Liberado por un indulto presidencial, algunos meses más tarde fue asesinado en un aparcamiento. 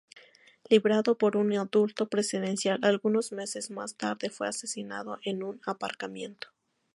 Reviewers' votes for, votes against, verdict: 4, 2, accepted